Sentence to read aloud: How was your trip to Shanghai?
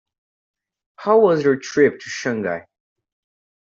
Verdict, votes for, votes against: accepted, 2, 0